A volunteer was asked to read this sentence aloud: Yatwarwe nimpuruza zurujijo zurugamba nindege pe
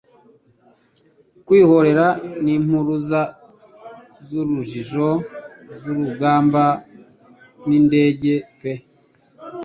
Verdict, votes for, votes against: rejected, 1, 2